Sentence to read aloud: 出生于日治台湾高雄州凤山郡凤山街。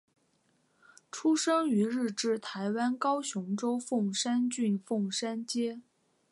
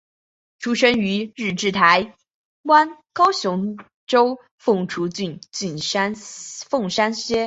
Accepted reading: first